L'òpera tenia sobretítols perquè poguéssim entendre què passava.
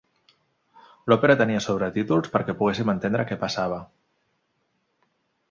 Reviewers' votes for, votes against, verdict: 3, 0, accepted